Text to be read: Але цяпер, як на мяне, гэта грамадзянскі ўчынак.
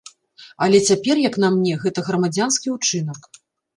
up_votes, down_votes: 1, 2